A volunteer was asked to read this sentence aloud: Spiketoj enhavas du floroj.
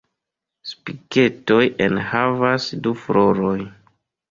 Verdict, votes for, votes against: accepted, 2, 0